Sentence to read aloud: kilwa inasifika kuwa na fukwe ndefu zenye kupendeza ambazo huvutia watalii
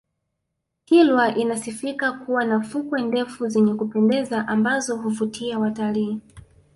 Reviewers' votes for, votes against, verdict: 2, 1, accepted